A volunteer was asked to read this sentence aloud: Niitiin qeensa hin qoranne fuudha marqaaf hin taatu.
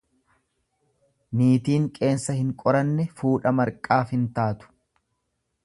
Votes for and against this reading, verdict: 2, 0, accepted